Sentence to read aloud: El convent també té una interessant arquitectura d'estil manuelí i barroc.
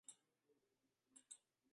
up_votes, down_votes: 0, 3